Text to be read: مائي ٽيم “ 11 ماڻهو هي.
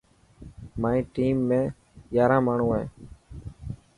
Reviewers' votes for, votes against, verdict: 0, 2, rejected